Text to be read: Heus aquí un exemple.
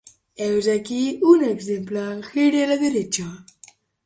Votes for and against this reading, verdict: 0, 2, rejected